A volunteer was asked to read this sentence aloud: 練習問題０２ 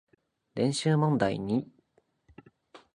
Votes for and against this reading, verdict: 0, 2, rejected